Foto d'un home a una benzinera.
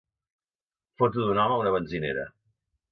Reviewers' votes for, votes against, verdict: 2, 0, accepted